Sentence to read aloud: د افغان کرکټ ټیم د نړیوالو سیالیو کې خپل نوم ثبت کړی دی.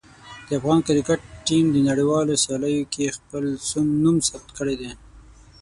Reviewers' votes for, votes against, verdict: 3, 6, rejected